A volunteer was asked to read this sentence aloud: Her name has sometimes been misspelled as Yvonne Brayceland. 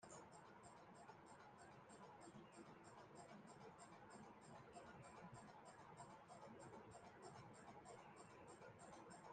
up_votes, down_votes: 0, 2